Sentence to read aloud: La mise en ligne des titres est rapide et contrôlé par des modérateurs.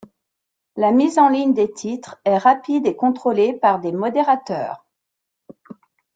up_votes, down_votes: 2, 0